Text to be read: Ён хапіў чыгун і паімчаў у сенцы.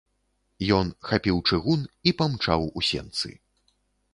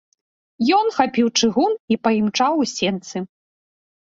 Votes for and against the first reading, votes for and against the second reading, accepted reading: 1, 2, 2, 0, second